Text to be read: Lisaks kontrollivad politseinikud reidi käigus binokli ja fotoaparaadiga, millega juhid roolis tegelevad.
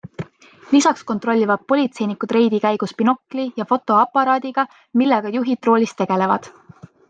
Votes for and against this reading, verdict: 2, 0, accepted